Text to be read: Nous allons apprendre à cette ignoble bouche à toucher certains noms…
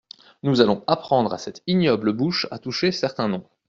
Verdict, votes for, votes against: accepted, 2, 0